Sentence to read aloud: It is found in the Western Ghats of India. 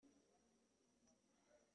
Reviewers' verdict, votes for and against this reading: rejected, 0, 2